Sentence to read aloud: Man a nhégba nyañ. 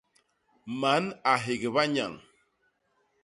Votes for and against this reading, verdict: 0, 2, rejected